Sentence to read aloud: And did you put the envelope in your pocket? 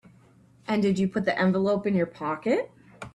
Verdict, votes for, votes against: accepted, 2, 0